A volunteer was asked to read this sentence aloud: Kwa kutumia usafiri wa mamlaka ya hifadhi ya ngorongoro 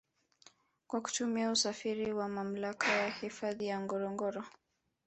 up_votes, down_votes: 2, 1